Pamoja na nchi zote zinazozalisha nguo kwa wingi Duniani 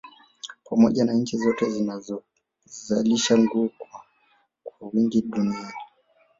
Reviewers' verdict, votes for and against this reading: rejected, 1, 2